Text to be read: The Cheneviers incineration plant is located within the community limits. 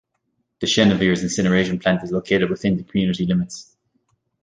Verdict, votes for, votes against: rejected, 1, 2